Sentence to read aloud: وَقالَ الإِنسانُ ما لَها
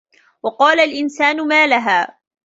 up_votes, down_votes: 3, 1